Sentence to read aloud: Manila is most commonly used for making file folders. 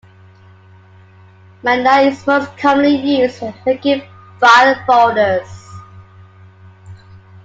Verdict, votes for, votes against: rejected, 0, 2